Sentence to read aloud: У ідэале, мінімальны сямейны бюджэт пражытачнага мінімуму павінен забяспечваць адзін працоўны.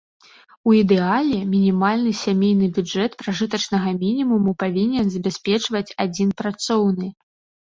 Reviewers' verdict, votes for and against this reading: accepted, 2, 0